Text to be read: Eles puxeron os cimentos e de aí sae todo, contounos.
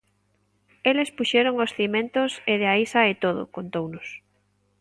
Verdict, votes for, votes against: accepted, 3, 0